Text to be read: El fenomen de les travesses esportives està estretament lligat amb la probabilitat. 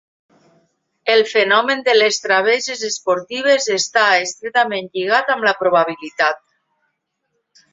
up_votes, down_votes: 3, 0